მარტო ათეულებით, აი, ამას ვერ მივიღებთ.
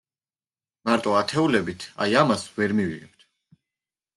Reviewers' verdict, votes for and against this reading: accepted, 2, 0